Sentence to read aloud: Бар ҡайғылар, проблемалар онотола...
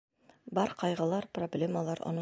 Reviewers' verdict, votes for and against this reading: rejected, 1, 2